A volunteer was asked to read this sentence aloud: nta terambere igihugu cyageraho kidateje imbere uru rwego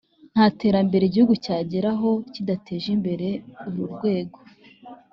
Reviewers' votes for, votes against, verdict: 2, 0, accepted